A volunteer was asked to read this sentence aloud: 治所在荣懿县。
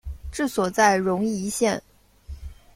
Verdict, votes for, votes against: rejected, 1, 2